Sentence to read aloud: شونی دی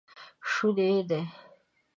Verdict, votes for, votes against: accepted, 2, 0